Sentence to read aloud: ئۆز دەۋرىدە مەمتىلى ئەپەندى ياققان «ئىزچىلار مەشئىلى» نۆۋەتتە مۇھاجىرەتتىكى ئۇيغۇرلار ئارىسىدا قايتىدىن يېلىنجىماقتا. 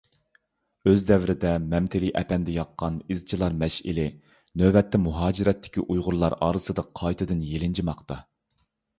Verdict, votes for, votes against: accepted, 2, 0